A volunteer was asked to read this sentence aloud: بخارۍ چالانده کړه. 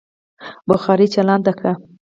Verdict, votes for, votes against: accepted, 4, 0